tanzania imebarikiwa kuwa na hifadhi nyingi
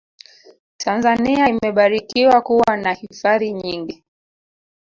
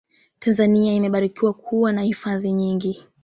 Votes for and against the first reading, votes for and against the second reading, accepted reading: 1, 2, 3, 0, second